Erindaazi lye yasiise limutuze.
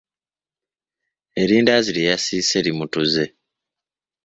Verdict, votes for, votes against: accepted, 2, 0